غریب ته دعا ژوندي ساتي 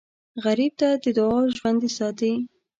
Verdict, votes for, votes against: accepted, 2, 1